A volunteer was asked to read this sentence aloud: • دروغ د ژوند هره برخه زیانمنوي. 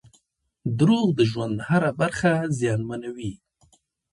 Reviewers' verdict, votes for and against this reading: rejected, 1, 2